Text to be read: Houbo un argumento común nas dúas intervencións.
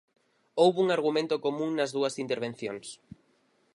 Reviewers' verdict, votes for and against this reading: accepted, 4, 0